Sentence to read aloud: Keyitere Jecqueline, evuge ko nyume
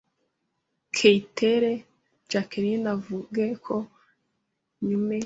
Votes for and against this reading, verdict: 0, 2, rejected